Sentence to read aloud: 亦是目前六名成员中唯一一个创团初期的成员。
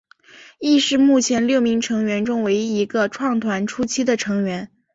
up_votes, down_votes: 2, 0